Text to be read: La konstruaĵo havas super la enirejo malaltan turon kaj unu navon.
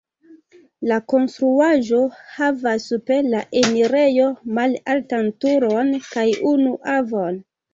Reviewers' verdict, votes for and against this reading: rejected, 0, 2